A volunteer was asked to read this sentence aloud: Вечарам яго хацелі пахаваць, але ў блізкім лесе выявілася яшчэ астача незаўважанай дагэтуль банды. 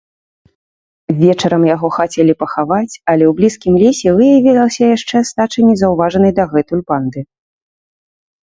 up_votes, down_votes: 2, 0